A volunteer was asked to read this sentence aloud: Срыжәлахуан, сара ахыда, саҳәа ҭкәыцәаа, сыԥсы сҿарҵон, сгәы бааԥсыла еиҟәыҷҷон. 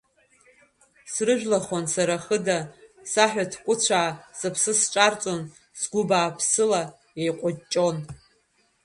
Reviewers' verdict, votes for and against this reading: rejected, 0, 2